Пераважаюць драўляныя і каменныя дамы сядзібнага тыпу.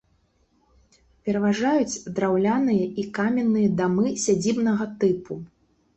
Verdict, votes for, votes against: rejected, 1, 2